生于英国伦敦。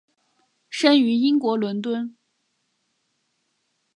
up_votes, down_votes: 1, 2